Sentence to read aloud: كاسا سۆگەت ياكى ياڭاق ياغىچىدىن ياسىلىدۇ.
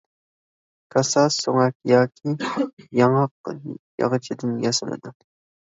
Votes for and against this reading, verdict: 0, 2, rejected